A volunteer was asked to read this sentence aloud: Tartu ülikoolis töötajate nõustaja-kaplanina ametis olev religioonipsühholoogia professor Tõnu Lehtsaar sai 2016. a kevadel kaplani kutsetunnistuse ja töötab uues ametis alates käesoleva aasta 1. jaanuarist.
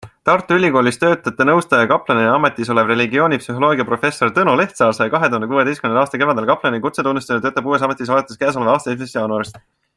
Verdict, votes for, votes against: rejected, 0, 2